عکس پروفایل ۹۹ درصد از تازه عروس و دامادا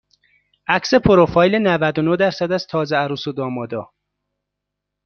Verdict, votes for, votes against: rejected, 0, 2